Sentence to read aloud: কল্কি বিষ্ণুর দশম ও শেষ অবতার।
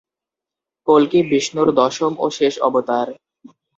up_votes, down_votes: 2, 0